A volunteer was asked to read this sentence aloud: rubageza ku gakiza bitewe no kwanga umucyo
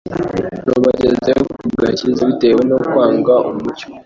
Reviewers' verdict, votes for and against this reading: rejected, 0, 2